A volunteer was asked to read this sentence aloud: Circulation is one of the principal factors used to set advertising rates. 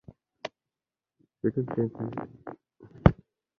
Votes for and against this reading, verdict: 0, 2, rejected